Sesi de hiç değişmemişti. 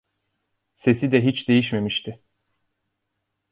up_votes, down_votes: 2, 1